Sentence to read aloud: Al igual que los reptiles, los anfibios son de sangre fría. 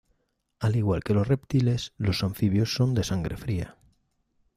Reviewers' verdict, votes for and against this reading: accepted, 2, 0